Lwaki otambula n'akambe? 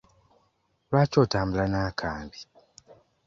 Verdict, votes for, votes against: accepted, 2, 1